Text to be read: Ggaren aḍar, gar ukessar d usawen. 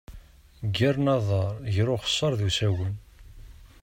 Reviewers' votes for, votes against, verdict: 0, 2, rejected